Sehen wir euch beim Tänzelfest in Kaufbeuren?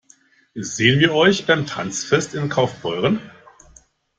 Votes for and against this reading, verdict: 0, 2, rejected